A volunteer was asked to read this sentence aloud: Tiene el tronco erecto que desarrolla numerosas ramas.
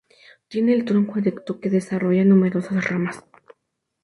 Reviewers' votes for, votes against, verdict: 2, 2, rejected